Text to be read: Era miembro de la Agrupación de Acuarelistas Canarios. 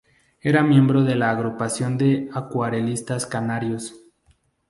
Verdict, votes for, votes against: accepted, 2, 0